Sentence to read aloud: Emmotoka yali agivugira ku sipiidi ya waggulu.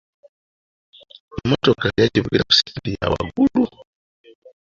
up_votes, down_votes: 0, 2